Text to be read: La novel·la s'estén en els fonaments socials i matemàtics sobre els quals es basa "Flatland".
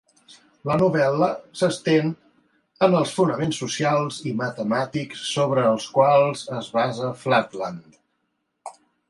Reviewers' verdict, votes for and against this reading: accepted, 3, 0